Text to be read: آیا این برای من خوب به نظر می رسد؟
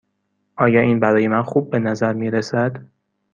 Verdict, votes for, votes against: accepted, 2, 0